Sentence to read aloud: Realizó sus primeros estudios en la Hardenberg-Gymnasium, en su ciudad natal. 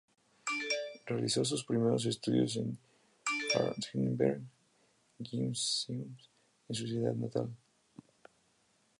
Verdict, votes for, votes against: rejected, 0, 2